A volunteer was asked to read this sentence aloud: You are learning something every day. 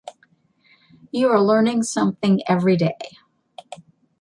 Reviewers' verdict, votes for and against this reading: accepted, 2, 0